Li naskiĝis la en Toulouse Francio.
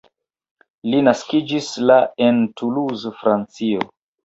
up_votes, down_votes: 0, 2